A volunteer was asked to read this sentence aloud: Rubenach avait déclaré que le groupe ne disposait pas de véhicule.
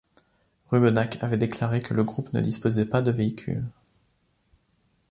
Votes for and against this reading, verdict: 2, 0, accepted